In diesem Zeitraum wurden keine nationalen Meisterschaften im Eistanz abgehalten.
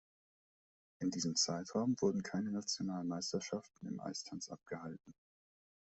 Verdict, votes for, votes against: accepted, 2, 0